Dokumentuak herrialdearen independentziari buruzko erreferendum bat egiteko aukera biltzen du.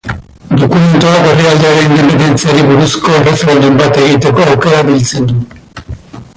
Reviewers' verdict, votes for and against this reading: rejected, 0, 2